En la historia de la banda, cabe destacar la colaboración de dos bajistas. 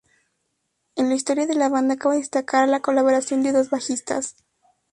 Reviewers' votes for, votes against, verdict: 2, 0, accepted